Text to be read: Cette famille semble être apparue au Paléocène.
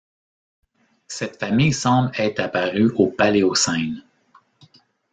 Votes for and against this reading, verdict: 2, 0, accepted